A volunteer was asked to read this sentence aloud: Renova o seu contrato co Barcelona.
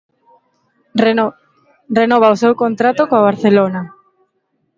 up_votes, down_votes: 1, 2